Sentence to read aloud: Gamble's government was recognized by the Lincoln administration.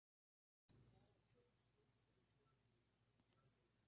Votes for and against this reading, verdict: 0, 2, rejected